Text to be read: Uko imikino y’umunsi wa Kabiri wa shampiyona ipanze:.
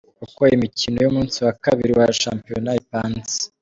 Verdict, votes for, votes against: accepted, 2, 0